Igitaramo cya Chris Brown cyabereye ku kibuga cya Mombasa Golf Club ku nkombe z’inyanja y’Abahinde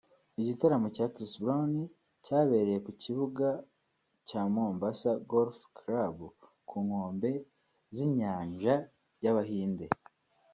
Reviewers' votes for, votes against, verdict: 2, 0, accepted